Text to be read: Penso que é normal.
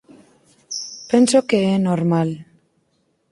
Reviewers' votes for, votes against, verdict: 4, 0, accepted